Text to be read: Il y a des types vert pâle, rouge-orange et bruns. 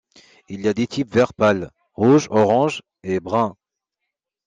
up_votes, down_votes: 2, 0